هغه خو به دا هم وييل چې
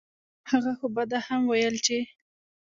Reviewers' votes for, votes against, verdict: 0, 2, rejected